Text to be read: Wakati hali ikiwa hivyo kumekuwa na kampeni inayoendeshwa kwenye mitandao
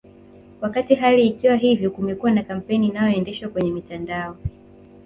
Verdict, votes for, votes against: rejected, 0, 2